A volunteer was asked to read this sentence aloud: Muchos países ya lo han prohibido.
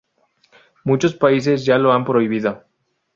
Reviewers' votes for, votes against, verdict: 2, 2, rejected